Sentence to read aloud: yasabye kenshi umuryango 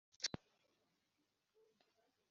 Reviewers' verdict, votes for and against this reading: accepted, 2, 1